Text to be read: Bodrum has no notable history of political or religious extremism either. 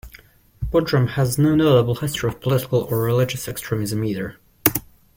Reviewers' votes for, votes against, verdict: 2, 0, accepted